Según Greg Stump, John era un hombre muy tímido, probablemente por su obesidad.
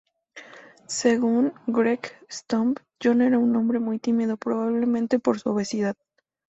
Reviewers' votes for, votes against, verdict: 2, 0, accepted